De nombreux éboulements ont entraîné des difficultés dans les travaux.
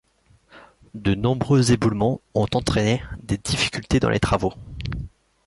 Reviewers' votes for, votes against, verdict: 2, 0, accepted